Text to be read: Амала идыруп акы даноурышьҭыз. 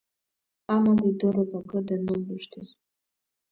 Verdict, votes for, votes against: rejected, 0, 2